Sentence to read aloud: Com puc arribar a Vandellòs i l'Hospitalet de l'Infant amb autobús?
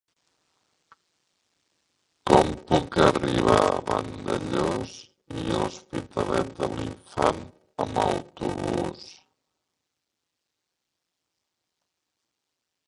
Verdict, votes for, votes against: rejected, 0, 2